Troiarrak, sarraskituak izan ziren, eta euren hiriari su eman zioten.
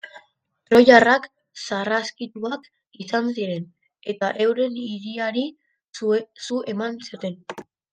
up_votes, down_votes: 1, 2